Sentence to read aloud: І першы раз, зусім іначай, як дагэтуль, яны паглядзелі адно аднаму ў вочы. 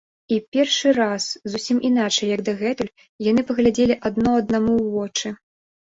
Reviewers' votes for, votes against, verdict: 2, 0, accepted